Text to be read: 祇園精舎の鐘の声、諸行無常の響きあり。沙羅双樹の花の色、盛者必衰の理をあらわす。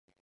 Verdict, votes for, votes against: rejected, 0, 2